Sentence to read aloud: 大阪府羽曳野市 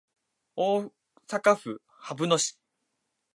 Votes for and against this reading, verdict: 2, 0, accepted